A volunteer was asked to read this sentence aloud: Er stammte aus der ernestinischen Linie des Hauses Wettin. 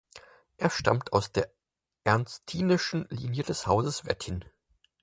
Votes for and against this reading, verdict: 2, 4, rejected